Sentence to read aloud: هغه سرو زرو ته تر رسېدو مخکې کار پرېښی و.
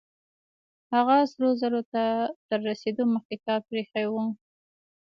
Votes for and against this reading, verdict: 2, 1, accepted